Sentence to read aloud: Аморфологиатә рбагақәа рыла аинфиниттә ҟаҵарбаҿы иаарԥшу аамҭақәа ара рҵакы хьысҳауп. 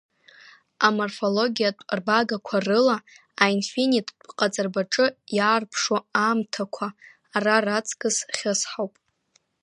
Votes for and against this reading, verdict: 0, 2, rejected